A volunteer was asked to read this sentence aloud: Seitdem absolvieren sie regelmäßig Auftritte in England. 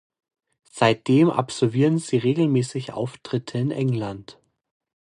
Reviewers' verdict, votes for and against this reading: accepted, 2, 0